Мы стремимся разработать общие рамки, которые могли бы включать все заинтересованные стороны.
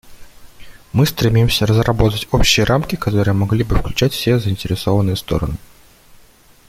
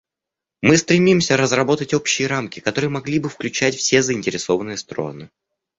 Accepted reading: first